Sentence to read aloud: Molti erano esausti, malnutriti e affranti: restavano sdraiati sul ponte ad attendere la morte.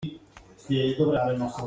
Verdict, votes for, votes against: rejected, 0, 2